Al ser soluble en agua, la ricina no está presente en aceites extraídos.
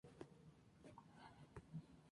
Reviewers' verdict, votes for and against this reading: accepted, 2, 0